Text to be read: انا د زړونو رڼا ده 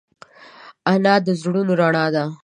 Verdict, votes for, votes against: accepted, 2, 0